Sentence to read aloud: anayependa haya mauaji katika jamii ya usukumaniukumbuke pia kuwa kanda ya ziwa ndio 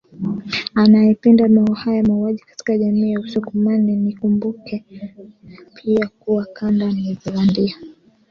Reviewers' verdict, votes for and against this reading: rejected, 1, 2